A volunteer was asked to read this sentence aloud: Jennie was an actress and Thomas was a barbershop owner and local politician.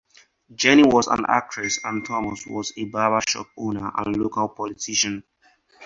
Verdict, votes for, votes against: accepted, 4, 0